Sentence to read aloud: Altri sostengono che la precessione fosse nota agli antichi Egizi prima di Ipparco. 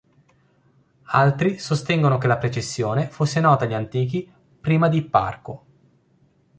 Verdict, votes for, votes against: rejected, 0, 2